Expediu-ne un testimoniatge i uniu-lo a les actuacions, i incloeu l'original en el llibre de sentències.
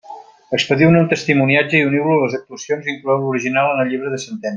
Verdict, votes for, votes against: rejected, 1, 2